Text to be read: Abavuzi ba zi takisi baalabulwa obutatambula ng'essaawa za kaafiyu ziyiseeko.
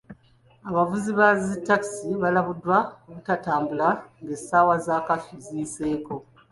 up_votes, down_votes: 0, 2